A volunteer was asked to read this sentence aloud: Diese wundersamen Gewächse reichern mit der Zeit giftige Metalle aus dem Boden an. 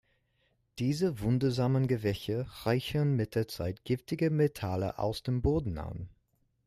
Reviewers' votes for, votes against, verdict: 0, 2, rejected